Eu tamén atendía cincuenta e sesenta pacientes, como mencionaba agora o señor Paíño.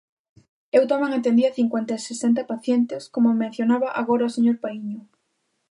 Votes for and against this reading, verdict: 2, 0, accepted